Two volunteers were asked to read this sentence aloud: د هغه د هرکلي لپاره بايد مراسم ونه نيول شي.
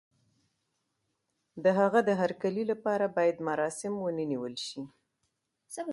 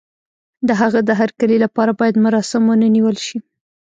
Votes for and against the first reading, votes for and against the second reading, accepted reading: 3, 0, 1, 2, first